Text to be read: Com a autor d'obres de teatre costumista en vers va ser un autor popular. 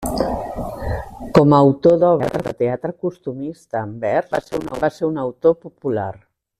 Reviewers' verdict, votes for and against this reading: rejected, 1, 2